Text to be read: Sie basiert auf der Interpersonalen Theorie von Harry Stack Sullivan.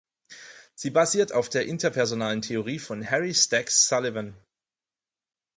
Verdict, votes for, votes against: accepted, 4, 0